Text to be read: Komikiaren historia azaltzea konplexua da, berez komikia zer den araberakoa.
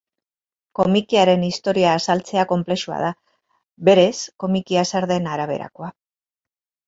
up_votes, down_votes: 2, 2